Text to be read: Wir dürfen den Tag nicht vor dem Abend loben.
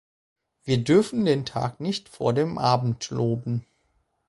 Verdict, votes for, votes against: accepted, 4, 0